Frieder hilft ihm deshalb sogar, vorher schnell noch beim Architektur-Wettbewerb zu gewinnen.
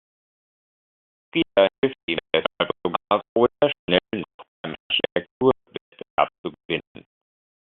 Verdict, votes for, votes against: rejected, 0, 2